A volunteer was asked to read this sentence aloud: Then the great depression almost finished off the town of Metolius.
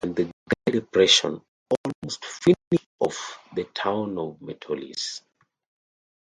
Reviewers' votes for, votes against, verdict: 0, 2, rejected